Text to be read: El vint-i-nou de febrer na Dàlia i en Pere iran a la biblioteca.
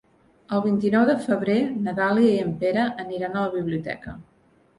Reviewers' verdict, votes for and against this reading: rejected, 2, 3